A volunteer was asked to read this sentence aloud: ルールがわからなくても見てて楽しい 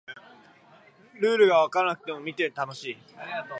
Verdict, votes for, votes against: rejected, 0, 2